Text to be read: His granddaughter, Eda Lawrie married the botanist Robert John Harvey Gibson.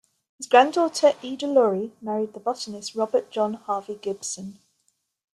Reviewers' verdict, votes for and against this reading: accepted, 2, 0